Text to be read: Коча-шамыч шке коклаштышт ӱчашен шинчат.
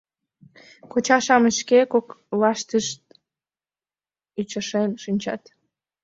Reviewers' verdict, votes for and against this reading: rejected, 0, 2